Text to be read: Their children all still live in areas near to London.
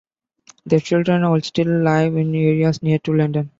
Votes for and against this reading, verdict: 2, 0, accepted